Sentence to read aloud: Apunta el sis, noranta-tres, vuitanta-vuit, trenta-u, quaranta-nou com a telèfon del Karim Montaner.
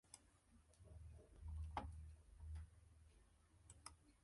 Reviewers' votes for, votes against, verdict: 0, 2, rejected